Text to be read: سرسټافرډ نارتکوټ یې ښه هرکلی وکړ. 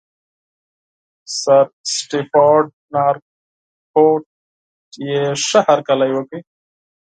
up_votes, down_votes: 2, 4